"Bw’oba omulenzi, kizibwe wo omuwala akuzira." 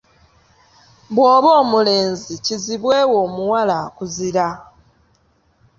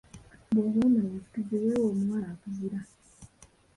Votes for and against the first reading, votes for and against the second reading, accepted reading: 2, 1, 0, 2, first